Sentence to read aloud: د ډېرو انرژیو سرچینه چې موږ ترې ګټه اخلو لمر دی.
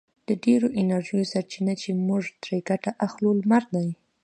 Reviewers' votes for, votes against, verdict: 2, 1, accepted